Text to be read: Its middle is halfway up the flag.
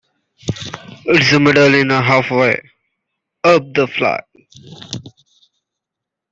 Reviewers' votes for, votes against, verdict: 0, 2, rejected